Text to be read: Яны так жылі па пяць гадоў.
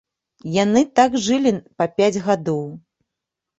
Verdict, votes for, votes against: accepted, 2, 0